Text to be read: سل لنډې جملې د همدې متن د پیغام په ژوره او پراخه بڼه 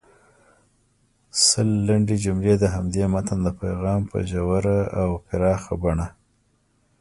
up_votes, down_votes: 2, 0